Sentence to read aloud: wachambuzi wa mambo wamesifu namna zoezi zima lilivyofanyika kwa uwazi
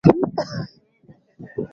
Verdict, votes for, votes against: rejected, 1, 15